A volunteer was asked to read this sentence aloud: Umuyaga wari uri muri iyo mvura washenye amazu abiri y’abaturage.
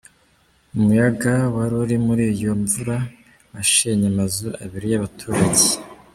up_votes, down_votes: 2, 1